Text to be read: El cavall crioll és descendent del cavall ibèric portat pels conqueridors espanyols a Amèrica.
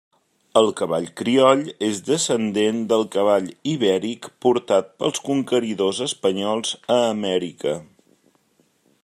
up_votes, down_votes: 3, 0